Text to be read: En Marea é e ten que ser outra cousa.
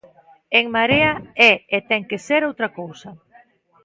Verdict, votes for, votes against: accepted, 2, 0